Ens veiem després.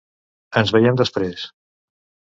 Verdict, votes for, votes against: accepted, 2, 0